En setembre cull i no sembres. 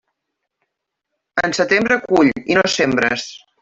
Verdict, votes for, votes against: rejected, 1, 2